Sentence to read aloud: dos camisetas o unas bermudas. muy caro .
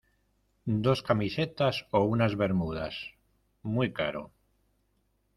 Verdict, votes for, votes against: accepted, 2, 0